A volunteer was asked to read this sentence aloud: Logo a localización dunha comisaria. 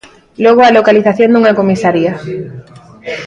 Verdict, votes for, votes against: accepted, 2, 0